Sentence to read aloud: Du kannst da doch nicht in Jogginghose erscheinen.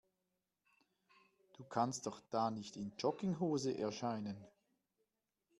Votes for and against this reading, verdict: 1, 2, rejected